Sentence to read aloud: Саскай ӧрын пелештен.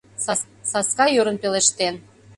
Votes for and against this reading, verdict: 0, 2, rejected